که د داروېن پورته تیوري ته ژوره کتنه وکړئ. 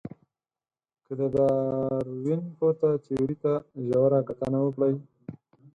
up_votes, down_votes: 0, 4